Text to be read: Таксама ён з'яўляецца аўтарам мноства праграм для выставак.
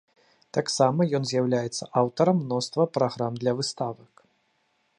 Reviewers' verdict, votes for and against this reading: rejected, 1, 2